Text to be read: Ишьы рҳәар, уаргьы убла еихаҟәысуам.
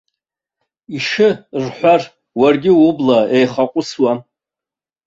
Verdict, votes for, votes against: accepted, 2, 1